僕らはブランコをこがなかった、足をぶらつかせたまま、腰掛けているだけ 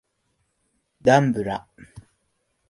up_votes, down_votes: 0, 2